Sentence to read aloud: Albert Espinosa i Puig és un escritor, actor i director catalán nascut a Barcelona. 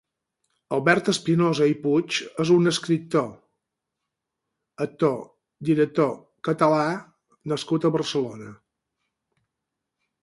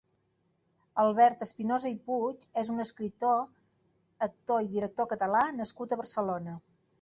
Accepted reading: second